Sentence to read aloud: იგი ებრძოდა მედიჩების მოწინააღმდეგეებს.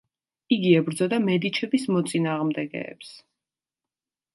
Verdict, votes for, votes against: accepted, 2, 0